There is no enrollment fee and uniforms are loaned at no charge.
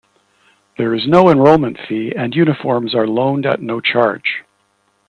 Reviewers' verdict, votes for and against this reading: accepted, 2, 0